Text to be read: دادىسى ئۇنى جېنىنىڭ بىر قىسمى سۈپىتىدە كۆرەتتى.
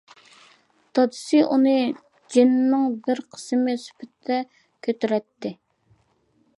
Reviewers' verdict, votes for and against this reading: rejected, 0, 2